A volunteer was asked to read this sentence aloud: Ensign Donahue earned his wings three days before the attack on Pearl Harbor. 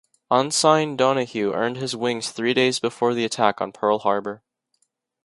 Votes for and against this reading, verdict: 2, 0, accepted